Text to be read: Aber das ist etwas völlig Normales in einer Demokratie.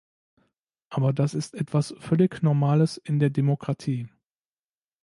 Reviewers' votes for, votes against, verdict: 0, 2, rejected